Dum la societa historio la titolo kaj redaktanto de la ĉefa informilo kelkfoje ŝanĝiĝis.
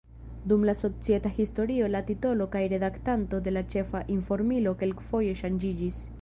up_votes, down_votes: 2, 1